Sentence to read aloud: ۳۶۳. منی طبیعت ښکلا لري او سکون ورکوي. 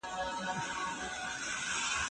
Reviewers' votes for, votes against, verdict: 0, 2, rejected